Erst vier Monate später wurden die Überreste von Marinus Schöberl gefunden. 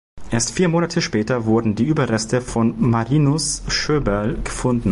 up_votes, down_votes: 2, 0